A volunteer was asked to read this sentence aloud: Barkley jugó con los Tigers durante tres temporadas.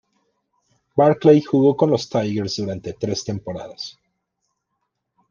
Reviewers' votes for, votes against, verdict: 1, 2, rejected